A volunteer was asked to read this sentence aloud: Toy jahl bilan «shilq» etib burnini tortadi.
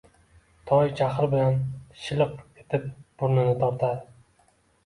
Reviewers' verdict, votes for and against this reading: rejected, 1, 2